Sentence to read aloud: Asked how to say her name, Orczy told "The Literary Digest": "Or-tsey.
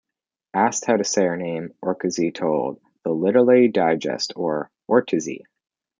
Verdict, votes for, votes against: accepted, 2, 1